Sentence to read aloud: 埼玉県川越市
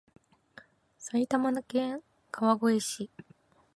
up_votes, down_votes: 1, 2